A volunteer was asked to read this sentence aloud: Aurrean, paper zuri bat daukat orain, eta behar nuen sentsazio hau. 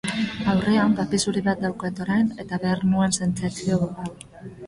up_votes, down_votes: 3, 2